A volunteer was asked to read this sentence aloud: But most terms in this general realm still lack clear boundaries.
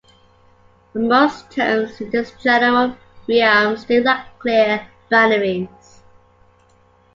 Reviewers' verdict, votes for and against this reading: rejected, 0, 2